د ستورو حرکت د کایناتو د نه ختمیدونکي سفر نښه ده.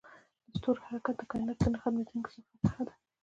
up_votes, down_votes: 0, 2